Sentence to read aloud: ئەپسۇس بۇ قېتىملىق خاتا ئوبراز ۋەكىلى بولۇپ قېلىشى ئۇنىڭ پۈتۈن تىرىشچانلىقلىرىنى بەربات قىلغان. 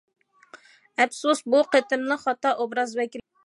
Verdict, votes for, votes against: rejected, 0, 2